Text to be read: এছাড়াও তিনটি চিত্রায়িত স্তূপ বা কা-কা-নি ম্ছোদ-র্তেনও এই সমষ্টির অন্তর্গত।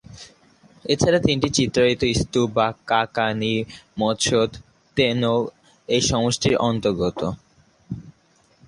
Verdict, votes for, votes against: rejected, 0, 2